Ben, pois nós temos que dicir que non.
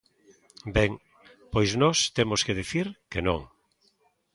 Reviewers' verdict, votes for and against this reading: accepted, 2, 1